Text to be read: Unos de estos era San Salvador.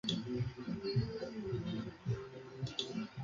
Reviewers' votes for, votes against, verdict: 0, 2, rejected